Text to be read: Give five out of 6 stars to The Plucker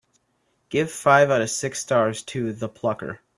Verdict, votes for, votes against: rejected, 0, 2